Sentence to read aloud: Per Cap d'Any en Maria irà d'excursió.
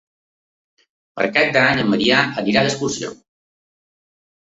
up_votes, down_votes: 1, 2